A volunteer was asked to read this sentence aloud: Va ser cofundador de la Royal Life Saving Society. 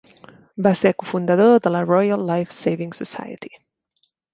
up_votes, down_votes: 3, 0